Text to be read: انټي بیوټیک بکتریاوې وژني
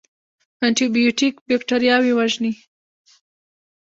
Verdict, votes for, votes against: accepted, 3, 0